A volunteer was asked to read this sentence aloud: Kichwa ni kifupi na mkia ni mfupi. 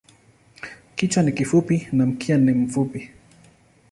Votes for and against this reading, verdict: 0, 2, rejected